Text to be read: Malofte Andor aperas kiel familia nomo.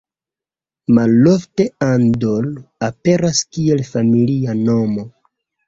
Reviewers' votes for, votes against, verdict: 1, 2, rejected